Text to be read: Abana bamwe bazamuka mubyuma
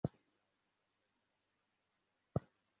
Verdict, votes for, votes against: rejected, 0, 2